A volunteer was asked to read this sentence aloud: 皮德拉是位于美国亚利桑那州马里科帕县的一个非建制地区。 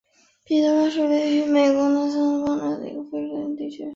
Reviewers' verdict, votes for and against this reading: rejected, 0, 2